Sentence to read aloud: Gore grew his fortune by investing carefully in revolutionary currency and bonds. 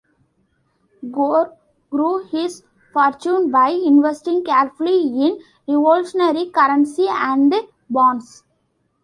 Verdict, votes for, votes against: rejected, 1, 2